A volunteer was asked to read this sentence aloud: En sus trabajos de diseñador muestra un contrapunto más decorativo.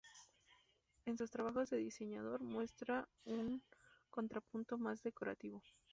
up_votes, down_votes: 0, 2